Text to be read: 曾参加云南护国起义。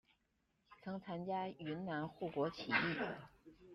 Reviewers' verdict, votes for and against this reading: rejected, 1, 2